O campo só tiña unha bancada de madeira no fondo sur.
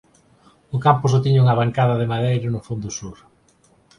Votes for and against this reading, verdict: 4, 0, accepted